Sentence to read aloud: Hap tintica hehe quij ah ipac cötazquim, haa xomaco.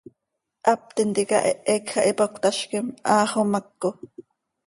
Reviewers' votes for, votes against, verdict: 2, 0, accepted